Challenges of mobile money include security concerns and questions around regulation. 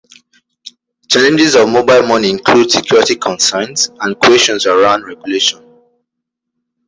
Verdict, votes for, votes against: accepted, 2, 1